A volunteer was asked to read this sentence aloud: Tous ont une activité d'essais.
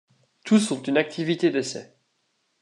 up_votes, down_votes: 2, 0